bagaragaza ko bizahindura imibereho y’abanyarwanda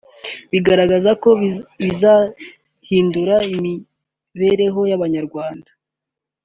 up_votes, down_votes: 3, 1